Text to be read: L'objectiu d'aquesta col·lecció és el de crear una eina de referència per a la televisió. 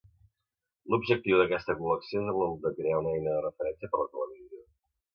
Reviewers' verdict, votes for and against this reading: rejected, 1, 2